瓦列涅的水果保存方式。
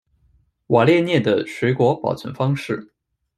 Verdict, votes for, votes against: accepted, 2, 0